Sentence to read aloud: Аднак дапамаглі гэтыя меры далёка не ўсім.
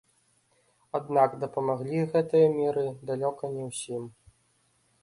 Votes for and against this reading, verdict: 2, 0, accepted